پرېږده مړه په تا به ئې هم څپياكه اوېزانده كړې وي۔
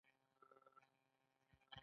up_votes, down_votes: 2, 0